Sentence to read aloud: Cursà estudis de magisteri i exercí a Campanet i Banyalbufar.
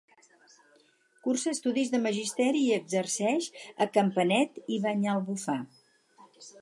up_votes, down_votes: 2, 4